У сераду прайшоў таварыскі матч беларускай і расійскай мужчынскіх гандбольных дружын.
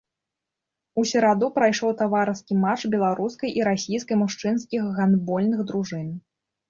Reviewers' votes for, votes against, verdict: 0, 2, rejected